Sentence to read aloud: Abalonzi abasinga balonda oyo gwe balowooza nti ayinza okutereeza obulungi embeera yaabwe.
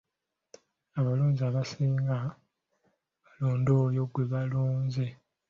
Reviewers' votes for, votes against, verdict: 0, 3, rejected